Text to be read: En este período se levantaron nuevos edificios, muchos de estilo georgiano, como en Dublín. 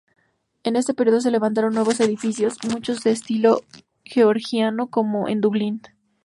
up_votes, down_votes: 2, 4